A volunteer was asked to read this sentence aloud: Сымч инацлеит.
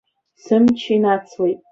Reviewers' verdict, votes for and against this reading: rejected, 0, 2